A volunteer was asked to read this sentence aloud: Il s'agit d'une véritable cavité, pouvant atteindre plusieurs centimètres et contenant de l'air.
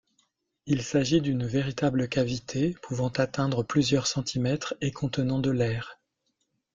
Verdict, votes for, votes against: accepted, 2, 0